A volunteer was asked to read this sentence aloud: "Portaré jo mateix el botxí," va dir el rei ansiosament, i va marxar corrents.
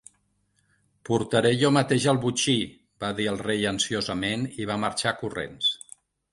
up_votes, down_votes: 2, 1